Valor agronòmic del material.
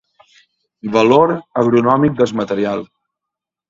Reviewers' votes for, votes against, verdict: 1, 2, rejected